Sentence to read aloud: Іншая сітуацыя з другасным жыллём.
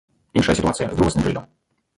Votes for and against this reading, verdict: 0, 2, rejected